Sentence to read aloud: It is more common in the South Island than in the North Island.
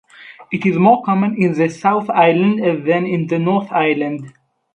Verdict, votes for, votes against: rejected, 2, 2